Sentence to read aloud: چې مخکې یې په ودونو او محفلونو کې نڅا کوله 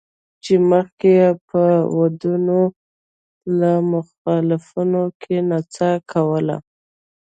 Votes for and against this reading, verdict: 1, 2, rejected